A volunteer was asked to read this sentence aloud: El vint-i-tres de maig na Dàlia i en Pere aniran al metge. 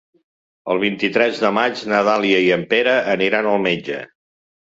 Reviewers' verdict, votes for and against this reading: accepted, 4, 0